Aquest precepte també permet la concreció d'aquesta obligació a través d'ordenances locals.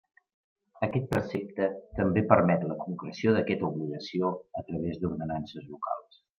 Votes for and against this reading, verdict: 0, 2, rejected